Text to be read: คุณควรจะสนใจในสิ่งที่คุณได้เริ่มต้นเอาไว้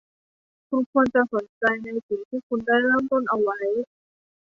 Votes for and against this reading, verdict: 1, 3, rejected